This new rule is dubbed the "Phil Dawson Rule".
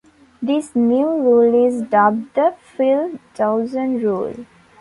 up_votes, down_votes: 2, 0